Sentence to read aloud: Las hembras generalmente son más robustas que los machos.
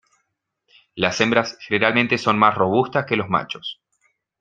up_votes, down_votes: 0, 2